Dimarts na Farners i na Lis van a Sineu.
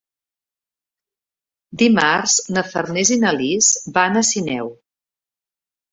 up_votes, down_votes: 3, 0